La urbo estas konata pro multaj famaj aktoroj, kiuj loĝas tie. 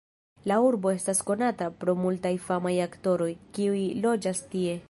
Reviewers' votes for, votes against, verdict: 1, 2, rejected